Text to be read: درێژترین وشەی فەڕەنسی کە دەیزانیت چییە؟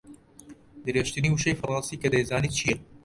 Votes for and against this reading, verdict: 2, 1, accepted